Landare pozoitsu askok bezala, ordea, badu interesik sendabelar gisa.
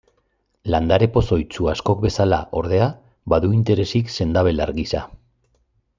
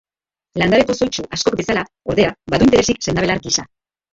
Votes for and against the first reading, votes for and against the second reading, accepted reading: 2, 0, 1, 2, first